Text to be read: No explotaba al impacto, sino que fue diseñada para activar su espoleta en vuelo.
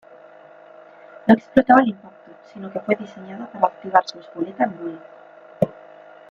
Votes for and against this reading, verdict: 1, 2, rejected